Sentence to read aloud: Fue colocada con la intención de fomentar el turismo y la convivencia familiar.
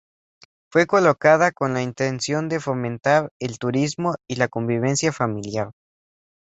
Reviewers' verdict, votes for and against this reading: accepted, 2, 0